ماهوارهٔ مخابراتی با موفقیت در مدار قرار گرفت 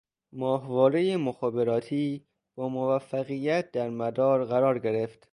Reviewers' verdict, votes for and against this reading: accepted, 2, 0